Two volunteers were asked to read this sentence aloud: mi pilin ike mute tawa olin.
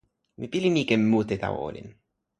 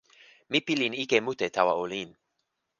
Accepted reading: first